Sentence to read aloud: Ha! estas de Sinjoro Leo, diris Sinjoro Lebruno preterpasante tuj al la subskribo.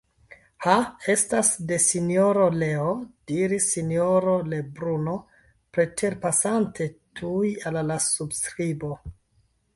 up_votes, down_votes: 0, 2